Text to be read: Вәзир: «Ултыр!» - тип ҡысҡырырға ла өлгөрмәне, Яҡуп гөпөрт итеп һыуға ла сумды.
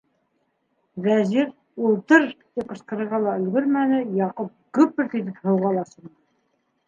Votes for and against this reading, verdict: 0, 2, rejected